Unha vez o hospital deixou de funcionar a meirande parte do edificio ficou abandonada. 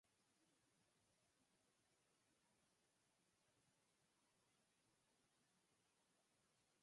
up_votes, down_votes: 0, 4